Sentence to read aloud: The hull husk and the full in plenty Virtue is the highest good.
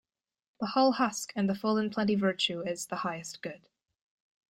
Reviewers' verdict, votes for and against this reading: accepted, 2, 0